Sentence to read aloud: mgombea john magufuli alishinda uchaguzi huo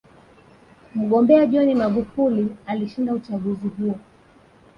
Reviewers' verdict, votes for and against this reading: accepted, 3, 2